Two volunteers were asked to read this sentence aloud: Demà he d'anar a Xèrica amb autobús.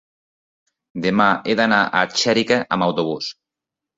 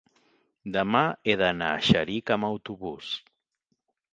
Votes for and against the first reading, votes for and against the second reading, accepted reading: 3, 0, 1, 2, first